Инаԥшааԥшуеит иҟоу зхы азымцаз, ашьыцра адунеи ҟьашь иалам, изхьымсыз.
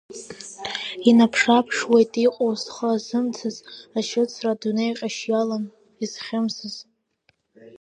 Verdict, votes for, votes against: accepted, 2, 0